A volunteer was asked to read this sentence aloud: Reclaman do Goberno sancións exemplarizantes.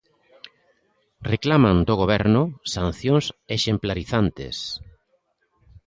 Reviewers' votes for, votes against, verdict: 2, 0, accepted